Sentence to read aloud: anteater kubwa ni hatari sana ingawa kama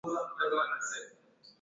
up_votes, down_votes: 0, 2